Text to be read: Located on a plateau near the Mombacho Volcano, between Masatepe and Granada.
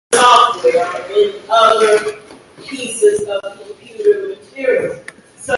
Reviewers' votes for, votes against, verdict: 0, 2, rejected